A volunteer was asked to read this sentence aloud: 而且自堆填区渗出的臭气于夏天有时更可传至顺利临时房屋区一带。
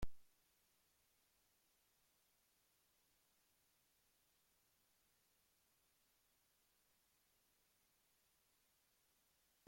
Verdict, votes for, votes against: rejected, 0, 2